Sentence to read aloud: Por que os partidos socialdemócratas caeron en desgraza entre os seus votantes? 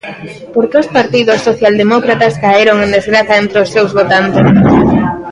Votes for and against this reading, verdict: 1, 2, rejected